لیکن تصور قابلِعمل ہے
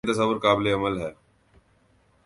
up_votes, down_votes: 0, 2